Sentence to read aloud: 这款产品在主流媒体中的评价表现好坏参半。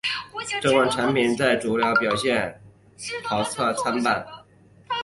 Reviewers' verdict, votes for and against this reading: rejected, 0, 2